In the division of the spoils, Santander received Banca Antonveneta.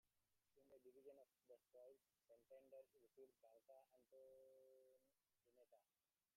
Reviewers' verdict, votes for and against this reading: rejected, 0, 2